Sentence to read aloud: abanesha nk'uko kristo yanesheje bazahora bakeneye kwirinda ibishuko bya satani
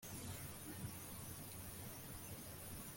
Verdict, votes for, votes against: rejected, 1, 2